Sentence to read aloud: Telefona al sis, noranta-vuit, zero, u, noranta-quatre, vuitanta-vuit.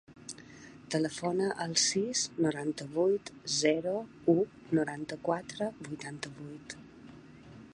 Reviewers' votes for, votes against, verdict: 3, 0, accepted